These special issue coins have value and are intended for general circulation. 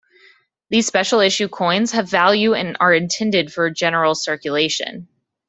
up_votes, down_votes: 2, 0